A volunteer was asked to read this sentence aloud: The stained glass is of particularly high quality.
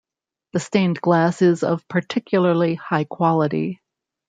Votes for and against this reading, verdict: 2, 0, accepted